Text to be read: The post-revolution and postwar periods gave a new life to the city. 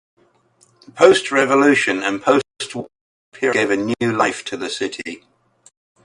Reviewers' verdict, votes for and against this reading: rejected, 0, 2